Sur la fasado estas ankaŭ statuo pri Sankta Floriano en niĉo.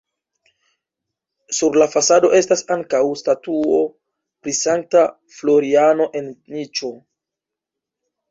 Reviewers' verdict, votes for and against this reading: rejected, 1, 2